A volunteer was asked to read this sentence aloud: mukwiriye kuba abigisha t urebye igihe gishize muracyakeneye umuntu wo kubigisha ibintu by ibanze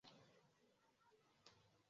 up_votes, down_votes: 0, 2